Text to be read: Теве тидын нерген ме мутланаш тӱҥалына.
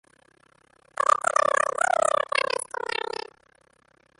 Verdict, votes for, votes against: rejected, 0, 2